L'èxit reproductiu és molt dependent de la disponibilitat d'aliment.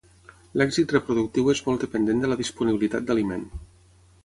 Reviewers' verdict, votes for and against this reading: accepted, 6, 0